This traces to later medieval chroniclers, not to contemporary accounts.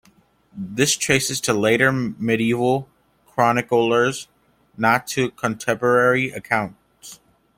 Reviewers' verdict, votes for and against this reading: accepted, 2, 1